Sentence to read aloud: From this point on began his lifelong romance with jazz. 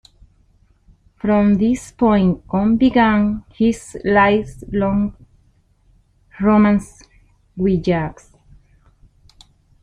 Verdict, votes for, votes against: rejected, 1, 2